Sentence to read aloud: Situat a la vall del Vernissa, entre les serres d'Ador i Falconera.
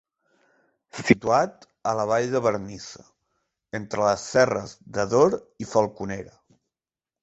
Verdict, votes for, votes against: rejected, 1, 2